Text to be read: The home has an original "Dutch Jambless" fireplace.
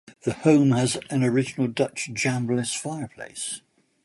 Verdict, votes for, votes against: rejected, 1, 2